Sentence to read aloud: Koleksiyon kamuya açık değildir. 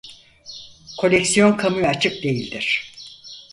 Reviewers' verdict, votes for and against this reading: accepted, 4, 0